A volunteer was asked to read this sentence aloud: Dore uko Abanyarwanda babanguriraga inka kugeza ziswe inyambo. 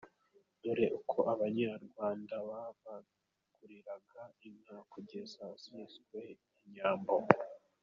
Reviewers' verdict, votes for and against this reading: accepted, 2, 0